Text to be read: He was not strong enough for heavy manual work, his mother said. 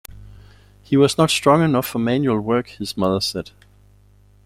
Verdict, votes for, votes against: rejected, 0, 2